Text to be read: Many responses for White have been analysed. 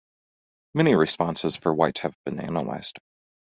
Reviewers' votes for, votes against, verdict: 2, 0, accepted